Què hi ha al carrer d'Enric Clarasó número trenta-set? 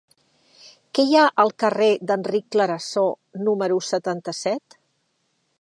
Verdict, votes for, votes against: rejected, 0, 2